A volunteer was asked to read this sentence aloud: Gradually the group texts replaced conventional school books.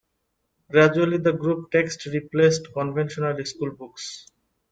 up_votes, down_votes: 1, 2